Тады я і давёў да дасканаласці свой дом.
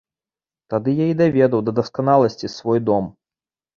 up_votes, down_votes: 0, 2